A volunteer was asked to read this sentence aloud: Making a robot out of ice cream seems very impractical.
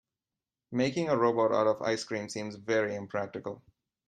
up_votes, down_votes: 2, 0